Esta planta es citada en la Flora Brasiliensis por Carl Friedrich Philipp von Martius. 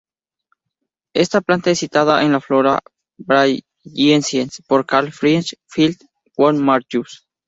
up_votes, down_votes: 0, 2